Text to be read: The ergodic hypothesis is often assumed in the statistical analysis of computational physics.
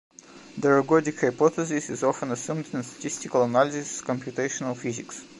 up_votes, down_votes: 2, 0